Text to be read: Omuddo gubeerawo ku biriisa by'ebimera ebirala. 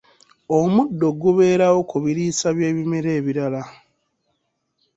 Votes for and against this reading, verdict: 2, 0, accepted